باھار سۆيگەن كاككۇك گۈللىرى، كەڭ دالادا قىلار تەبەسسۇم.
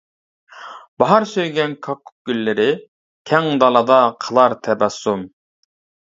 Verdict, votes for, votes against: accepted, 2, 0